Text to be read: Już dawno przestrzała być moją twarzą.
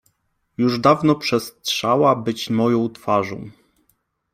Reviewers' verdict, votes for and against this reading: accepted, 2, 0